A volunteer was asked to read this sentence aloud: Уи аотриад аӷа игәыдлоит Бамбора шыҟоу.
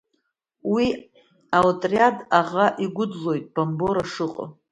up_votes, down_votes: 3, 0